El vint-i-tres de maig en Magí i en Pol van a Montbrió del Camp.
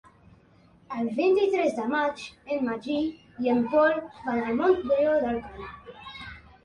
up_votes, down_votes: 0, 2